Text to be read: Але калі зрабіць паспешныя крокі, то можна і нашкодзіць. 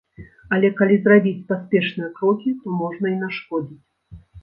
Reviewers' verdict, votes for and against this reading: accepted, 3, 0